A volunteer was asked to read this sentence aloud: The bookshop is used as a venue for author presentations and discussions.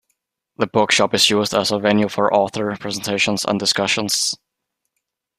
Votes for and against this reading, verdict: 2, 1, accepted